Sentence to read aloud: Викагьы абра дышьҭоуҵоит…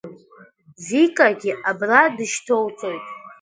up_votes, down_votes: 0, 2